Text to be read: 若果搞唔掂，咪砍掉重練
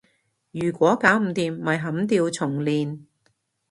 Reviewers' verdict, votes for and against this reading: rejected, 1, 2